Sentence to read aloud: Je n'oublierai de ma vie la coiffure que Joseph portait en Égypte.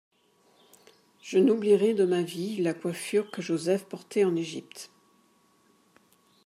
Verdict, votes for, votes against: accepted, 3, 1